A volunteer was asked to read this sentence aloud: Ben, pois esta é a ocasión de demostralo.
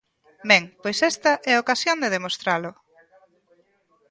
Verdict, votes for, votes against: rejected, 0, 2